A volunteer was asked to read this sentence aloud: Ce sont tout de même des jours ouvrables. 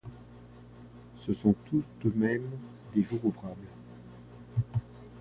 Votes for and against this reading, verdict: 1, 2, rejected